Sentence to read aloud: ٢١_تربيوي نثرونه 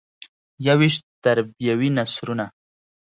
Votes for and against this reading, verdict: 0, 2, rejected